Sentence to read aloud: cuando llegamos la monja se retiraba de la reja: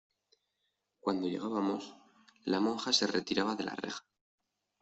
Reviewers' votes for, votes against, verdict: 0, 2, rejected